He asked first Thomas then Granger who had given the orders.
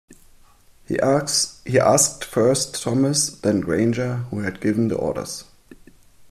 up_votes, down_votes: 0, 2